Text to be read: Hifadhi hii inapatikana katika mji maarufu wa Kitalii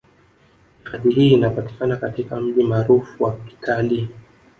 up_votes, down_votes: 1, 2